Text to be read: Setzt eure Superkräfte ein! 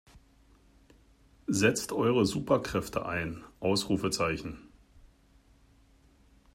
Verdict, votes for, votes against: rejected, 0, 2